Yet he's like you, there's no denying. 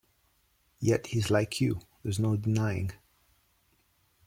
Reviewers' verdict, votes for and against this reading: accepted, 2, 0